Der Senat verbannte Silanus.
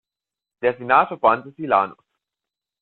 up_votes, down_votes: 1, 2